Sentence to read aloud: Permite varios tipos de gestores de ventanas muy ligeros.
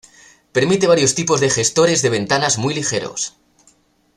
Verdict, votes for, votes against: accepted, 2, 0